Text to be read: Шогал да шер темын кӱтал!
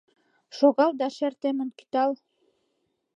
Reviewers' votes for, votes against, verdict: 2, 0, accepted